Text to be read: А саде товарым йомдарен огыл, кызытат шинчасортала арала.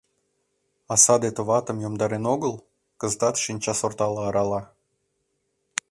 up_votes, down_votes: 0, 2